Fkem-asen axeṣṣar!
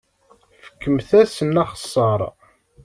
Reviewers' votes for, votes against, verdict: 1, 2, rejected